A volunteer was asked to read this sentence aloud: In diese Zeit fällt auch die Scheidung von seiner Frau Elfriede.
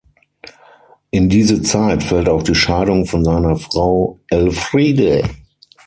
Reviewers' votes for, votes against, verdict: 3, 6, rejected